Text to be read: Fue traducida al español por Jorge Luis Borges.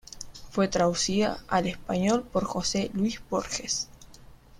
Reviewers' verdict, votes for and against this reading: rejected, 0, 2